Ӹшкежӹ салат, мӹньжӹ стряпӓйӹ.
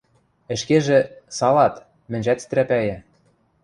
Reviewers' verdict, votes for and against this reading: rejected, 1, 2